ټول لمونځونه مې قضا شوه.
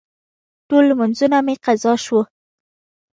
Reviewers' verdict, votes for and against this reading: accepted, 2, 0